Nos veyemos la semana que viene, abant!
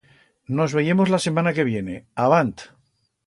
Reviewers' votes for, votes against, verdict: 1, 2, rejected